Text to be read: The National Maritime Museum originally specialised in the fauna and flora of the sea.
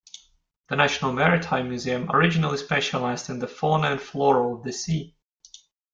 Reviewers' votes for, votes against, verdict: 2, 0, accepted